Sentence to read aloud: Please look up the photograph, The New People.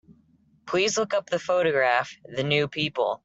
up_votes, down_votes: 3, 0